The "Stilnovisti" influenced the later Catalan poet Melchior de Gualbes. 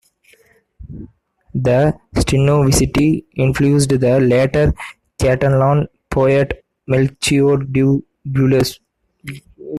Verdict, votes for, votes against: rejected, 0, 2